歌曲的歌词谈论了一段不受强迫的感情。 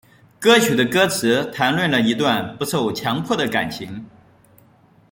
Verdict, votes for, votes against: accepted, 2, 0